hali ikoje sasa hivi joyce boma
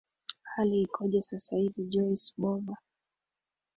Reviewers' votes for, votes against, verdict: 0, 2, rejected